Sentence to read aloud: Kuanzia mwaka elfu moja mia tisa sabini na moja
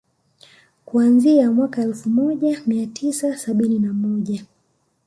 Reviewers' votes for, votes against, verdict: 2, 0, accepted